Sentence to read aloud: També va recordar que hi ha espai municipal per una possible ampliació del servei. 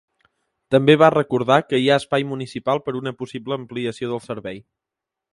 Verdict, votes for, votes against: accepted, 2, 0